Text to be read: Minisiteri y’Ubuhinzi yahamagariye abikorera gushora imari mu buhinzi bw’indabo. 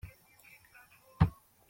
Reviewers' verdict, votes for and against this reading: rejected, 0, 2